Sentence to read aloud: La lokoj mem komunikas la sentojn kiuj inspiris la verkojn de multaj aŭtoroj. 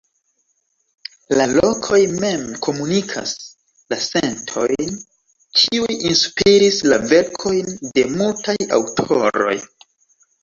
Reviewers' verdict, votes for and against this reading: rejected, 1, 2